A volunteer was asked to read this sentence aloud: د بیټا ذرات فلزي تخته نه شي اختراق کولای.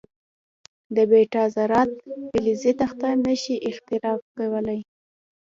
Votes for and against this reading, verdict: 2, 0, accepted